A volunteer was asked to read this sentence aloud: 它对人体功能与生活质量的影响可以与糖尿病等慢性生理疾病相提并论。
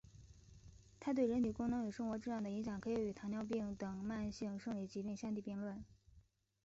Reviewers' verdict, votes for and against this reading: accepted, 2, 0